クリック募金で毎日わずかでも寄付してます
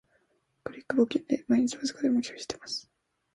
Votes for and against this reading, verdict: 1, 2, rejected